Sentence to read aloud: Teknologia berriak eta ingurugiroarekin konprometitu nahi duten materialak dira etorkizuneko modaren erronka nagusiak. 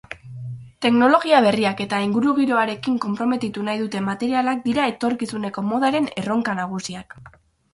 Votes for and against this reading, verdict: 4, 0, accepted